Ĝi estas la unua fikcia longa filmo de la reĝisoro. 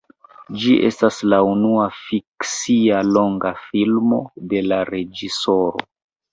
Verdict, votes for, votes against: accepted, 2, 1